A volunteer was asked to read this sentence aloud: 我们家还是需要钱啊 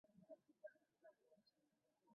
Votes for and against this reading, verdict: 1, 2, rejected